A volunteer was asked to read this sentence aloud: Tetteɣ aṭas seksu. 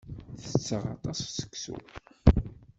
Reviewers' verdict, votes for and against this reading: rejected, 0, 2